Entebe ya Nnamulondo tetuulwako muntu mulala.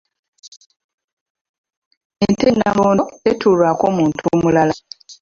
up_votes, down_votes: 0, 3